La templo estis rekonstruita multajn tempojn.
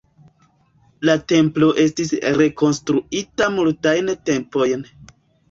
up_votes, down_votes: 3, 1